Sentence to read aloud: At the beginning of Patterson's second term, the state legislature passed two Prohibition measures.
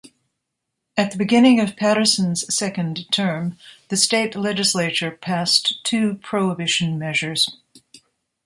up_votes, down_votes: 2, 0